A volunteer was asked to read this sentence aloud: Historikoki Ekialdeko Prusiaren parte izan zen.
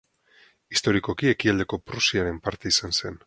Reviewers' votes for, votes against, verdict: 4, 0, accepted